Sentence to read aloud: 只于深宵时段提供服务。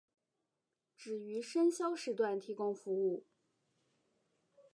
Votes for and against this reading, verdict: 1, 2, rejected